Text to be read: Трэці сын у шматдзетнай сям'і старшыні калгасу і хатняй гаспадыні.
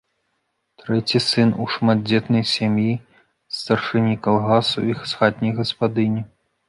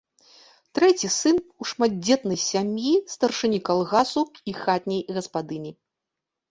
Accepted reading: second